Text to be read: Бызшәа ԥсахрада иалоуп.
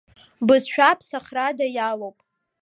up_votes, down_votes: 0, 2